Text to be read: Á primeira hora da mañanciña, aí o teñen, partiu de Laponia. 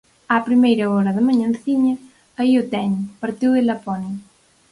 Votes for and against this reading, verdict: 2, 2, rejected